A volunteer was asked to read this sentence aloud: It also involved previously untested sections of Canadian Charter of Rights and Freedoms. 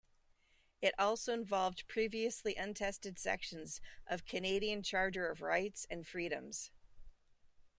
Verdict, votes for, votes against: accepted, 2, 0